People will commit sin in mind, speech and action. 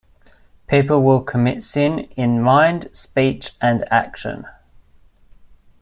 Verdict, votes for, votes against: accepted, 2, 1